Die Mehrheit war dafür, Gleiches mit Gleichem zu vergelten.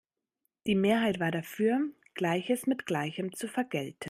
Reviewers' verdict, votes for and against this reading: rejected, 0, 2